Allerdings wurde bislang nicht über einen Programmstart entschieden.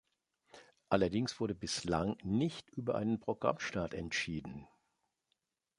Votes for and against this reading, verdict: 2, 0, accepted